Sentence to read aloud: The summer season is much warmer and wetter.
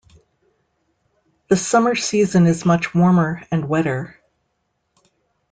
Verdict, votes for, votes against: accepted, 2, 0